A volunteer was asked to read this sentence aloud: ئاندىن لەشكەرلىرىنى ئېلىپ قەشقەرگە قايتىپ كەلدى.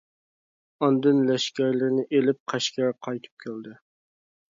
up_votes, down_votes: 1, 2